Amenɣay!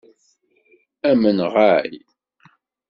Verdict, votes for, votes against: accepted, 2, 0